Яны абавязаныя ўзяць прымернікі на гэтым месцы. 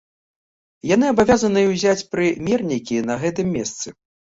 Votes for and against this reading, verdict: 2, 0, accepted